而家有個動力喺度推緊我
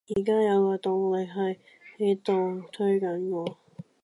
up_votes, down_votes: 0, 2